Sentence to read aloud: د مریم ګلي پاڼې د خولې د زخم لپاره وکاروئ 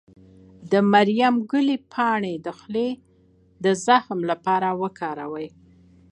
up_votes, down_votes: 2, 0